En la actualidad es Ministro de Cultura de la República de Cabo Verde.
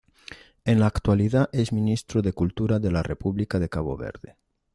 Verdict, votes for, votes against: accepted, 2, 0